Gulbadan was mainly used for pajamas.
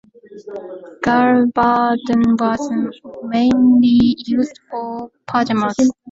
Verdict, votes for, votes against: accepted, 2, 1